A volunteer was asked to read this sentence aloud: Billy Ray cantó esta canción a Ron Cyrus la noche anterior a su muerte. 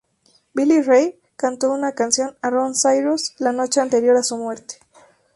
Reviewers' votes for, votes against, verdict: 0, 2, rejected